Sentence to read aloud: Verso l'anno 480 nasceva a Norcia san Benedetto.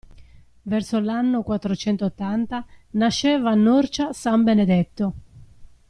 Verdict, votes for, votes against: rejected, 0, 2